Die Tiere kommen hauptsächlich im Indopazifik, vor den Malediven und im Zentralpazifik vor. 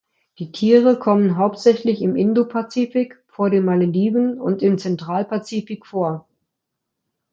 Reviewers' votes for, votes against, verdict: 2, 0, accepted